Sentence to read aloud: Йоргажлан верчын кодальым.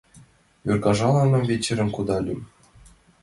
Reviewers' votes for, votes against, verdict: 1, 2, rejected